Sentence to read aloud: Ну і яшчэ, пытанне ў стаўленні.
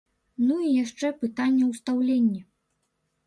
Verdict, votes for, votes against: rejected, 1, 2